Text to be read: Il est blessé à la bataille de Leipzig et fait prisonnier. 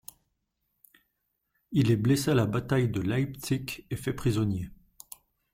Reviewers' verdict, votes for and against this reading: rejected, 1, 2